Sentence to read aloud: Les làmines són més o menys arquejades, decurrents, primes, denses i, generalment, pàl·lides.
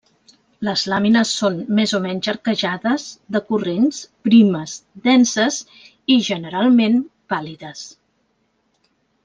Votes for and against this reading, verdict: 2, 0, accepted